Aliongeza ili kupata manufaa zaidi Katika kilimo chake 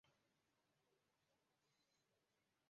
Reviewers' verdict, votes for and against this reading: rejected, 1, 2